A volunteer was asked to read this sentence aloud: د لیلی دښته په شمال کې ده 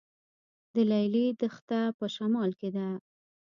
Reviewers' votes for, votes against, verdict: 2, 0, accepted